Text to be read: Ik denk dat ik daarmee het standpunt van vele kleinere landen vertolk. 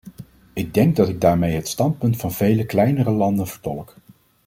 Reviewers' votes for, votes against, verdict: 2, 0, accepted